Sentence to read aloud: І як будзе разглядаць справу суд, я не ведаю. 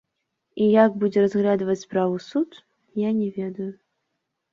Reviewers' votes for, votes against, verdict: 0, 2, rejected